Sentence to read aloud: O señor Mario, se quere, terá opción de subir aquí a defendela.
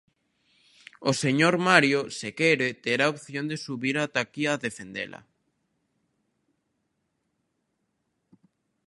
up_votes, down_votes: 0, 2